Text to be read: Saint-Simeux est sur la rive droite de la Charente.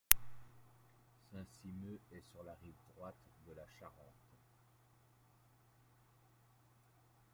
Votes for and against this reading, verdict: 1, 2, rejected